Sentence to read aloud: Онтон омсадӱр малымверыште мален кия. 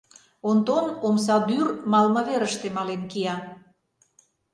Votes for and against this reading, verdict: 0, 2, rejected